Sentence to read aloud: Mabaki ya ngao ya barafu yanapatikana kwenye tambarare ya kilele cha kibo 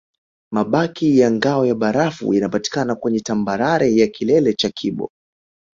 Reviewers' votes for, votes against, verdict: 6, 0, accepted